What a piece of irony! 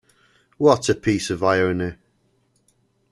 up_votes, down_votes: 2, 0